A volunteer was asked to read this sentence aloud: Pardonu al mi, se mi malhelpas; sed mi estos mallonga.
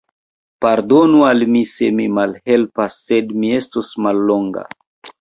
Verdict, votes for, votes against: rejected, 1, 2